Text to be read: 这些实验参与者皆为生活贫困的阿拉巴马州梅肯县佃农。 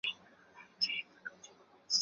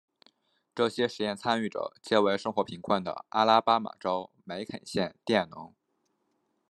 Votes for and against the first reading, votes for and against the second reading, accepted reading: 0, 2, 2, 0, second